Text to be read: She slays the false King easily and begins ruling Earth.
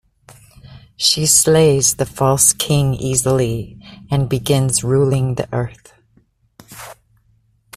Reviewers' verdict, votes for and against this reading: rejected, 1, 2